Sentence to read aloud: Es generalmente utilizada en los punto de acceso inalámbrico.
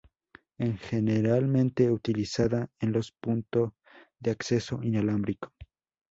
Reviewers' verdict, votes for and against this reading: rejected, 2, 4